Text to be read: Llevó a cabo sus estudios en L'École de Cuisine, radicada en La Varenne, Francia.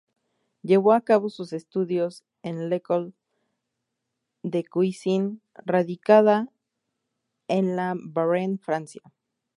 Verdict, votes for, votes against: rejected, 0, 4